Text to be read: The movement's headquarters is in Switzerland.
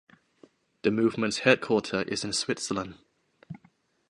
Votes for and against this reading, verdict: 1, 3, rejected